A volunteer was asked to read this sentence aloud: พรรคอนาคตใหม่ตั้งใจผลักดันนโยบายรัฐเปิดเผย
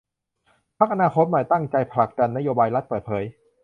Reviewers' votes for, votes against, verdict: 2, 0, accepted